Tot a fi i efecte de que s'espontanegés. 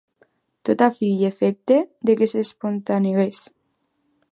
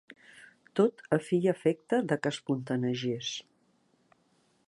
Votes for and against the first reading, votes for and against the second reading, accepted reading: 2, 0, 0, 2, first